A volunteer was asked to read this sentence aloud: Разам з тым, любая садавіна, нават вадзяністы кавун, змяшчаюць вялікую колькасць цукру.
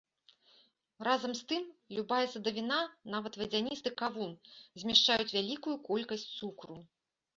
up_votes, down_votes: 2, 0